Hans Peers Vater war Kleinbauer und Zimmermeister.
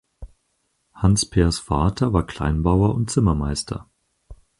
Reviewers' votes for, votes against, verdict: 4, 0, accepted